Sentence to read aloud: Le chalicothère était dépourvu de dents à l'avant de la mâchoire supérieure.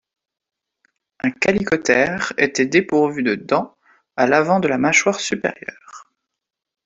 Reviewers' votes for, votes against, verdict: 1, 2, rejected